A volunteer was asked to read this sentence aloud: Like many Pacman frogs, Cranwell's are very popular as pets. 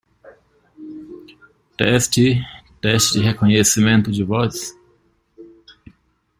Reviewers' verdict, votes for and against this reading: rejected, 0, 2